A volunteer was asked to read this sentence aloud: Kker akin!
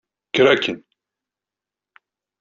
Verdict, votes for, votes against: accepted, 2, 0